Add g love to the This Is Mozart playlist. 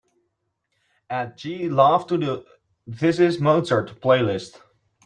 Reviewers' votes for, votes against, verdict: 3, 1, accepted